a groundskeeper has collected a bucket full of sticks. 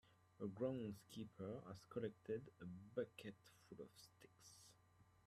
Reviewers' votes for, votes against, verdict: 2, 1, accepted